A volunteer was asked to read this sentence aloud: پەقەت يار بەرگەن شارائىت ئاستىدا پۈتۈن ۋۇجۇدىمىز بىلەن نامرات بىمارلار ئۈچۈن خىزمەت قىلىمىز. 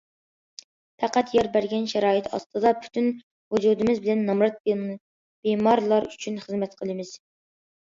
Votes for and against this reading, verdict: 2, 1, accepted